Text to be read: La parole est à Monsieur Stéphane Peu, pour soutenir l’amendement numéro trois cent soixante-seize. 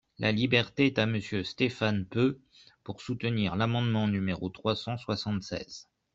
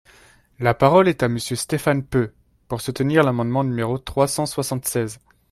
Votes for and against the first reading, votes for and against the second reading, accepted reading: 0, 2, 2, 0, second